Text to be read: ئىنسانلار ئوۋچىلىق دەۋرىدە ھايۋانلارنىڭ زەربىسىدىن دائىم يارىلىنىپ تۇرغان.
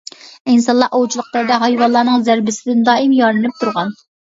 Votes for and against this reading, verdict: 0, 2, rejected